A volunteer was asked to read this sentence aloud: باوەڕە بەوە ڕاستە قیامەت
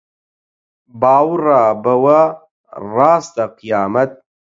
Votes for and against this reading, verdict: 0, 8, rejected